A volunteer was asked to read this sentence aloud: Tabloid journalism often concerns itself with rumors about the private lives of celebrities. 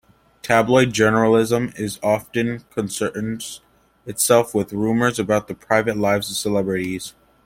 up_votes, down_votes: 1, 2